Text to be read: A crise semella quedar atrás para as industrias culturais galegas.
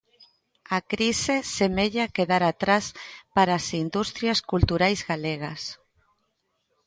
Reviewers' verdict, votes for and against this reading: accepted, 2, 0